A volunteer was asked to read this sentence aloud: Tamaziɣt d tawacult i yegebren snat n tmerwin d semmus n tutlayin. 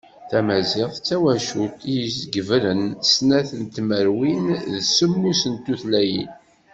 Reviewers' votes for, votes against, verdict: 1, 2, rejected